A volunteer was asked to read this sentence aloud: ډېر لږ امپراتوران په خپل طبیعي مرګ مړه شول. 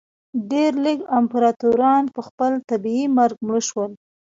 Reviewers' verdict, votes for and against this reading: rejected, 1, 2